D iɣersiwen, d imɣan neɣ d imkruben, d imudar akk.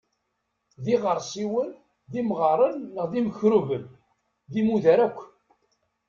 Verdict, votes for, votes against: rejected, 0, 2